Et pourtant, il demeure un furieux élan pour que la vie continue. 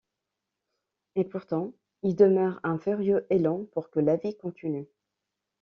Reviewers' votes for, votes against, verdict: 2, 1, accepted